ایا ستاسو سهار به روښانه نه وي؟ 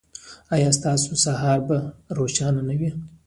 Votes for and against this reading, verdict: 0, 2, rejected